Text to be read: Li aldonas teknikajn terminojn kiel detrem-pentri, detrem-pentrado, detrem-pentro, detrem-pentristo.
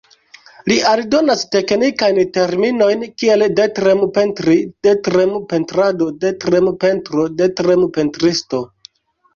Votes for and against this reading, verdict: 2, 0, accepted